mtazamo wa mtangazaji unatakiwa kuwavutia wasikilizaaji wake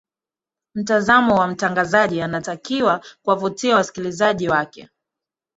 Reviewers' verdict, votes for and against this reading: rejected, 1, 2